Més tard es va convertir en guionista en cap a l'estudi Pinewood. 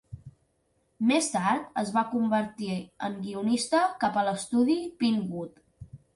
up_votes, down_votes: 1, 2